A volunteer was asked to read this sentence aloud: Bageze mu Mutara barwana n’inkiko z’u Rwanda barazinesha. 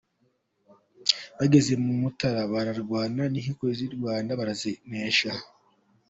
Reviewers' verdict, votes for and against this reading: accepted, 4, 0